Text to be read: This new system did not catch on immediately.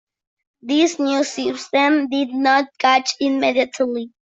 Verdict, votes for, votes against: rejected, 0, 2